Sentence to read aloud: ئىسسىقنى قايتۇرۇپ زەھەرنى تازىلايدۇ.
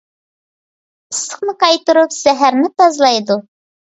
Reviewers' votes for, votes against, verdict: 2, 1, accepted